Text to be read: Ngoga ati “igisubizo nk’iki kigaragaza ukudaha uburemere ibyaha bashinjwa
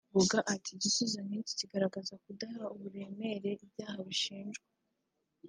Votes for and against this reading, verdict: 2, 0, accepted